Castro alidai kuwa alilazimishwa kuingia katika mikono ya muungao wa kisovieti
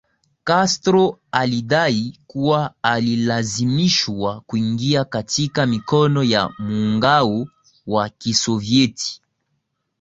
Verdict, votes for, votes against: accepted, 2, 0